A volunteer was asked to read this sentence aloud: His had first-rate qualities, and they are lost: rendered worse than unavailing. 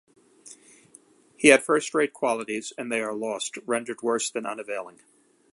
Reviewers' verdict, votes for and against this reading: accepted, 2, 1